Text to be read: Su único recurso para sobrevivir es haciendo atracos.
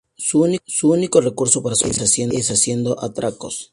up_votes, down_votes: 0, 2